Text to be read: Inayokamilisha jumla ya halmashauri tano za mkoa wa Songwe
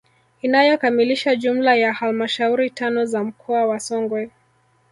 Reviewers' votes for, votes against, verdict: 3, 1, accepted